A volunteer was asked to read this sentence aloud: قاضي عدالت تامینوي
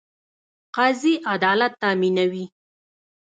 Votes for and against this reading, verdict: 1, 2, rejected